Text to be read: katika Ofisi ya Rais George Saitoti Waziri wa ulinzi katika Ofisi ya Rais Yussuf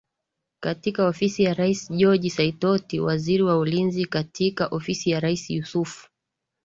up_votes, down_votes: 2, 0